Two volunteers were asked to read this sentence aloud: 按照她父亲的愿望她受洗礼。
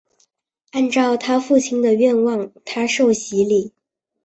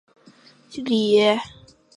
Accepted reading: first